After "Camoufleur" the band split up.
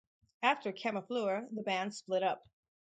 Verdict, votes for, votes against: rejected, 0, 2